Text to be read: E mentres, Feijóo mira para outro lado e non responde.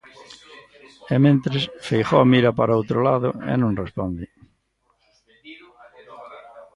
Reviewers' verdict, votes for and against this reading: accepted, 2, 0